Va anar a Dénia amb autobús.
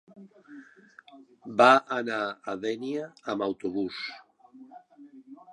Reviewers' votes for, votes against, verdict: 3, 0, accepted